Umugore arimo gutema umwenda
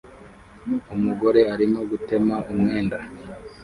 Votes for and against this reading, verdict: 1, 2, rejected